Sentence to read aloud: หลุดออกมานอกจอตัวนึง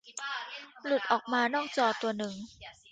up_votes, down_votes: 1, 2